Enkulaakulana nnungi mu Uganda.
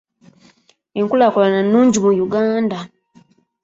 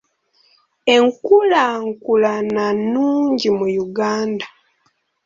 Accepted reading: first